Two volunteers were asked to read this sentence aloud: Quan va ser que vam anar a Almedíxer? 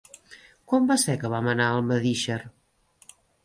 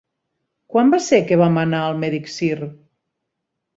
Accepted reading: first